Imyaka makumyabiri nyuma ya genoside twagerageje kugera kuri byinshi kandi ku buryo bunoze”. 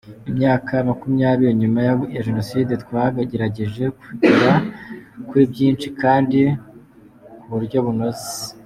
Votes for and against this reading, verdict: 1, 2, rejected